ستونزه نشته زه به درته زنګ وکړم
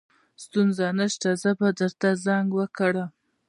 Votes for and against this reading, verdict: 2, 0, accepted